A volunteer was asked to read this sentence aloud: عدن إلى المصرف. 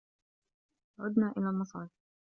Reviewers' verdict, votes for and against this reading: rejected, 0, 2